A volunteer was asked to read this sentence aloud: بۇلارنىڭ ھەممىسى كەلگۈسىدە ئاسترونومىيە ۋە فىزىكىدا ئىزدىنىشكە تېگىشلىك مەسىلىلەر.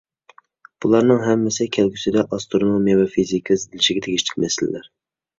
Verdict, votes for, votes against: rejected, 0, 2